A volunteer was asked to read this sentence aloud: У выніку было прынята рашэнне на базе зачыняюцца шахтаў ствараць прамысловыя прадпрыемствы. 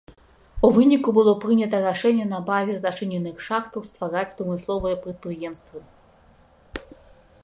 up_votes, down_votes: 1, 2